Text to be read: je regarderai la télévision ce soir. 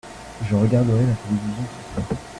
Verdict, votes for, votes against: rejected, 0, 2